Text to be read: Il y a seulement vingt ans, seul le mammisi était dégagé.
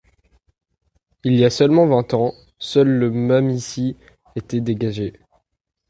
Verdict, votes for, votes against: rejected, 1, 2